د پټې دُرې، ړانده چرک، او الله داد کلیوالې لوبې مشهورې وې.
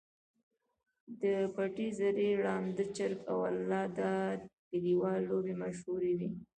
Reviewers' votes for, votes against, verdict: 1, 2, rejected